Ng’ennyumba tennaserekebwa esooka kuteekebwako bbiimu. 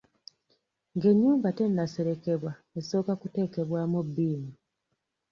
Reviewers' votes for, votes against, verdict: 2, 0, accepted